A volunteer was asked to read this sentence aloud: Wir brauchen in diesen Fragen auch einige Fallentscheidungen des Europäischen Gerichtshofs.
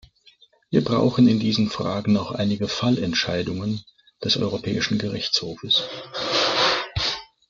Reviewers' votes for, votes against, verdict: 0, 2, rejected